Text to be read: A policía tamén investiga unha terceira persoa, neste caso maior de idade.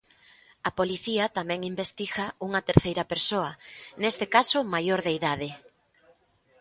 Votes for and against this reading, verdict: 4, 0, accepted